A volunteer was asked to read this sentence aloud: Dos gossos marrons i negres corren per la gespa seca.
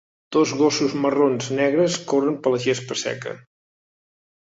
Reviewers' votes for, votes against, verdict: 0, 2, rejected